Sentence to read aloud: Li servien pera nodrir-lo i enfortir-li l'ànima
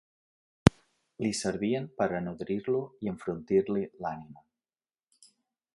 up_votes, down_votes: 1, 2